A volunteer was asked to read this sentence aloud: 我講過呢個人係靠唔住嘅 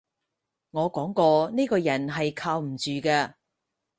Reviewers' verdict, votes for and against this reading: accepted, 4, 0